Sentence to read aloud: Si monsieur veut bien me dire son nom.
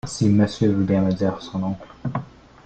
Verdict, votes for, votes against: accepted, 2, 0